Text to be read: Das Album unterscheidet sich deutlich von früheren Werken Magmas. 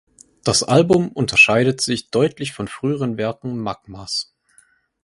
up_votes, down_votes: 4, 0